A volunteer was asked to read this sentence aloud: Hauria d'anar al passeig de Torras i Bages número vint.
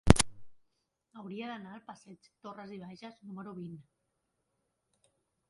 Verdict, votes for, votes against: rejected, 1, 3